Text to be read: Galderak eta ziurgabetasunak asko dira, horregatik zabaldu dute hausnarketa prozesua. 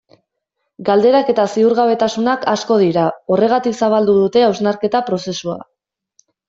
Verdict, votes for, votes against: accepted, 2, 0